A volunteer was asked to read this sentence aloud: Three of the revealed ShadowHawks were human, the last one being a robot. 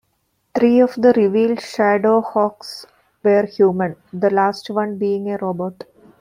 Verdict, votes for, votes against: accepted, 2, 0